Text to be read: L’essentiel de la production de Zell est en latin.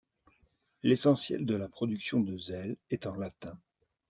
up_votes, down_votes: 2, 0